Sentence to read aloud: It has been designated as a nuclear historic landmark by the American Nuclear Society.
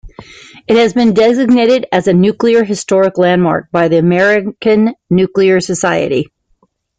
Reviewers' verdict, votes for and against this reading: accepted, 2, 1